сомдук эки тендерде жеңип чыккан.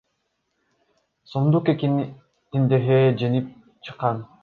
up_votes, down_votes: 1, 2